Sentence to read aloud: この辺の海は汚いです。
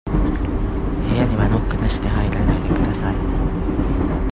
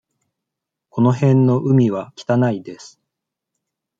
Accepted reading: second